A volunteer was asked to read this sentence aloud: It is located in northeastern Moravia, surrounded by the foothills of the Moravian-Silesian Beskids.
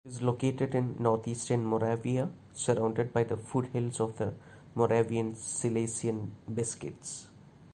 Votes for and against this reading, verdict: 0, 2, rejected